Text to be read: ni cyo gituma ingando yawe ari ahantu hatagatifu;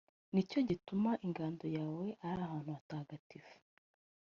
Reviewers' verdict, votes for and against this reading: accepted, 2, 0